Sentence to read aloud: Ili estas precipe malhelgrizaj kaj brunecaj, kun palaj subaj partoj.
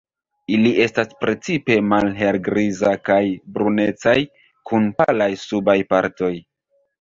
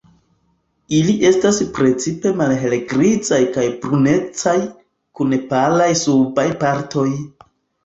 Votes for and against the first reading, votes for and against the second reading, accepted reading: 1, 2, 2, 0, second